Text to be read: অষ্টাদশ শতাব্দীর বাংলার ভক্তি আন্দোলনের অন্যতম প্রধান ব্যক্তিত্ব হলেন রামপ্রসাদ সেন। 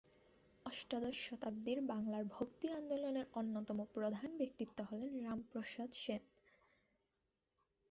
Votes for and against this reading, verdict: 2, 2, rejected